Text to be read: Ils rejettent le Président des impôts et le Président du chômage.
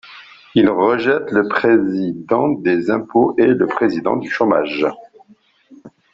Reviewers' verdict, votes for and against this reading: rejected, 1, 2